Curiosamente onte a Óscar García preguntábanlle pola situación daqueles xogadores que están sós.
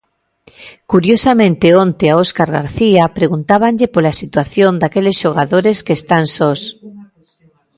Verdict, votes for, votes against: accepted, 2, 1